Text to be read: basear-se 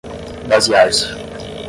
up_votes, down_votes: 0, 5